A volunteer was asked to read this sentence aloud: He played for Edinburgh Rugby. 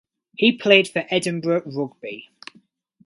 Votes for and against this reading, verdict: 4, 0, accepted